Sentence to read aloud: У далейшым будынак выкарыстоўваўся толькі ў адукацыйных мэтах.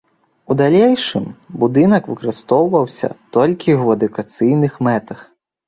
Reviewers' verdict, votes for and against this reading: accepted, 2, 0